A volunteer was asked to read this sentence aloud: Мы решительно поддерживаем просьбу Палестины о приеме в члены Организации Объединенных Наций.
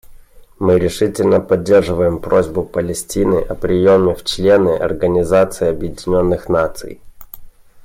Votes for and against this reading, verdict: 2, 0, accepted